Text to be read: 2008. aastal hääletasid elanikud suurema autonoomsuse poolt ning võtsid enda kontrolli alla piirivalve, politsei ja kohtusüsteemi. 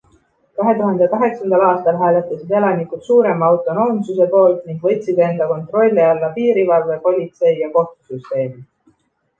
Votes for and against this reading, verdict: 0, 2, rejected